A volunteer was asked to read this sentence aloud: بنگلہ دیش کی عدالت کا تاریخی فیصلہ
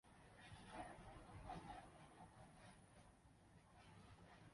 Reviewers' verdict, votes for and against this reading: rejected, 1, 3